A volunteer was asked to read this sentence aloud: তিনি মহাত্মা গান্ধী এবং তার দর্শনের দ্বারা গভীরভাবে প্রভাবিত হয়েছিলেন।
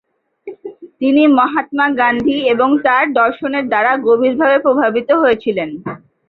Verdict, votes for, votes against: rejected, 0, 2